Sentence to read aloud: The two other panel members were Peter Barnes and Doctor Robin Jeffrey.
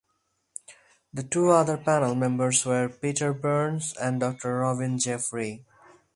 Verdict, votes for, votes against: rejected, 2, 4